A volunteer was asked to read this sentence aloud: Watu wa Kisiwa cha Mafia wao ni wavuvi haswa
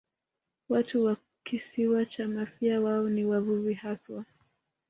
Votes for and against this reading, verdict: 3, 2, accepted